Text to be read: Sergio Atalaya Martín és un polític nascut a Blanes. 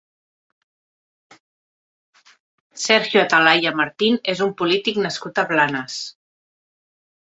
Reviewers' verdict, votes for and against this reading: accepted, 2, 0